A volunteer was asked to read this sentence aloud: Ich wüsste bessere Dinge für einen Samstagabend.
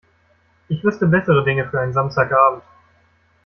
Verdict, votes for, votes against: accepted, 2, 0